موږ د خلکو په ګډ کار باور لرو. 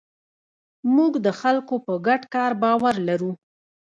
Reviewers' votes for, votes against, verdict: 1, 2, rejected